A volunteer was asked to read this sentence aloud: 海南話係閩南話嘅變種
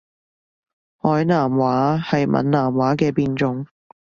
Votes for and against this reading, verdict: 2, 0, accepted